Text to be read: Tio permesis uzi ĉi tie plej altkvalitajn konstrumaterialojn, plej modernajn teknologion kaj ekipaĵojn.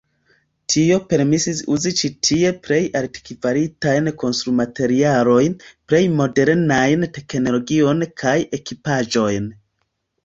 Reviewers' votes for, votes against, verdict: 2, 1, accepted